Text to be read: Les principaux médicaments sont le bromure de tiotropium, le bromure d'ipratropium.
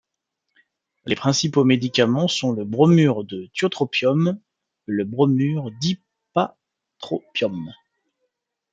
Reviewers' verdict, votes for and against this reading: rejected, 0, 2